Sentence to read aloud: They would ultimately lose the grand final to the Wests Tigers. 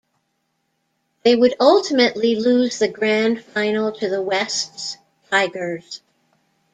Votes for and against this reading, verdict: 2, 0, accepted